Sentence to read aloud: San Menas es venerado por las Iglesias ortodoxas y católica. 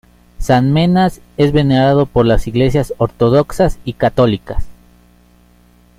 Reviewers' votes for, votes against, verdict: 1, 2, rejected